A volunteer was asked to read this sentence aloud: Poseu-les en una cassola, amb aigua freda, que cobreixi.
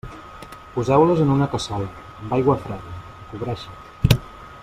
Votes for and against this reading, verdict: 0, 2, rejected